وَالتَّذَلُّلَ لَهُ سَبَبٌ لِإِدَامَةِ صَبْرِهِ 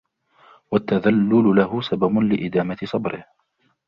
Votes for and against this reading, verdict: 2, 1, accepted